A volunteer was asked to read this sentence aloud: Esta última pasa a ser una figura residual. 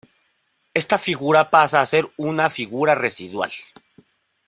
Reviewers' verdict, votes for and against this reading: rejected, 0, 2